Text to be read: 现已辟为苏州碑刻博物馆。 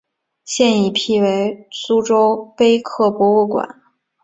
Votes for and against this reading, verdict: 4, 0, accepted